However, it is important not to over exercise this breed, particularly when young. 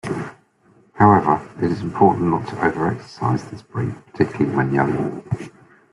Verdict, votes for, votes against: accepted, 2, 0